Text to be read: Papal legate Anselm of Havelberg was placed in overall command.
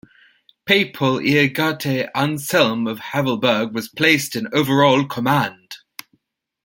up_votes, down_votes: 1, 2